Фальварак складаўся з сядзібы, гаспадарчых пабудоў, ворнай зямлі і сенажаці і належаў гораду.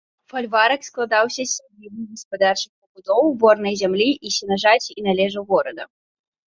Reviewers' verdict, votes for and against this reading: rejected, 0, 2